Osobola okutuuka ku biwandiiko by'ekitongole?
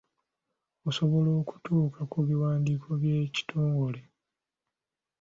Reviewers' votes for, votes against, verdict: 2, 0, accepted